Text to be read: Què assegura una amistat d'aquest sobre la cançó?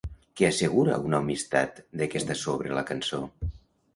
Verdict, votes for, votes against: rejected, 0, 2